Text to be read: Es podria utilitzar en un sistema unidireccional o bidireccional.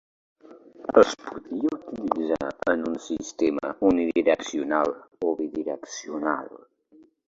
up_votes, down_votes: 0, 2